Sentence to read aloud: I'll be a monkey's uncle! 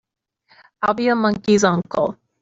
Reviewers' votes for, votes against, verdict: 2, 0, accepted